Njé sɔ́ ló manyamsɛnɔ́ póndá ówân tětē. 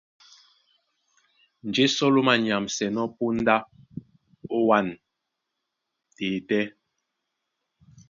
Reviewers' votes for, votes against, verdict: 1, 2, rejected